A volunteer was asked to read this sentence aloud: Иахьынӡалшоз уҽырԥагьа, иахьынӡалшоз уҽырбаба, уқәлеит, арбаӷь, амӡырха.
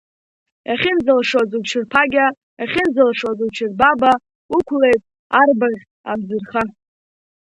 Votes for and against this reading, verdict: 2, 1, accepted